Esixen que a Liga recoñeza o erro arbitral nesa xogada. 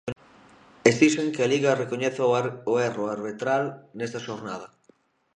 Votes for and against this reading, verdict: 0, 2, rejected